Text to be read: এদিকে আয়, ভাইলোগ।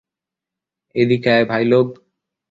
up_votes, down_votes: 2, 0